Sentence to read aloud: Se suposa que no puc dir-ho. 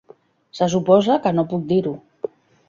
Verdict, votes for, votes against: accepted, 3, 0